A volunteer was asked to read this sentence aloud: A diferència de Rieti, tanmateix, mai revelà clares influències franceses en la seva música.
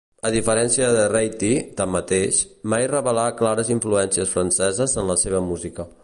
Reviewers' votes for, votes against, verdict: 0, 3, rejected